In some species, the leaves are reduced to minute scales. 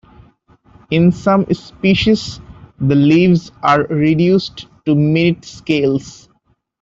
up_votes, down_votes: 0, 2